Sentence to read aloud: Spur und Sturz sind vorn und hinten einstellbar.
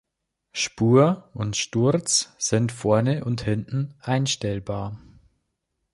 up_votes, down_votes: 1, 2